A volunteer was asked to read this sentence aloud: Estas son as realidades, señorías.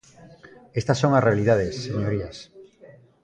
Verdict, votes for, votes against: accepted, 2, 0